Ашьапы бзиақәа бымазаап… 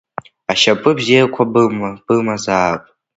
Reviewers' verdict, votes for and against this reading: rejected, 1, 2